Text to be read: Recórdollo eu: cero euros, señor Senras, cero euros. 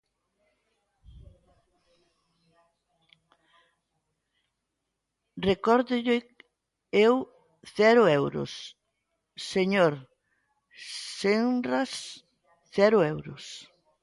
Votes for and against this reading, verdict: 0, 2, rejected